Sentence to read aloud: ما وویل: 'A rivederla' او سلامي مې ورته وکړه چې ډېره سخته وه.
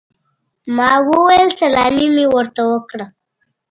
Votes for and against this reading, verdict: 2, 1, accepted